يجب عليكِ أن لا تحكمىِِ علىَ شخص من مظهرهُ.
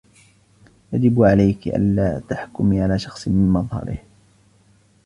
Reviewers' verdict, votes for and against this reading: rejected, 1, 2